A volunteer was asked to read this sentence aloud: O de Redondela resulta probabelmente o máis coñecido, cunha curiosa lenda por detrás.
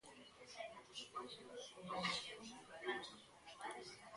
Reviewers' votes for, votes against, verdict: 0, 2, rejected